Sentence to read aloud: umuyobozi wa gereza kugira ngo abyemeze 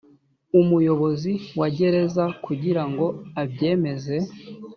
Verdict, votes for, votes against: accepted, 2, 0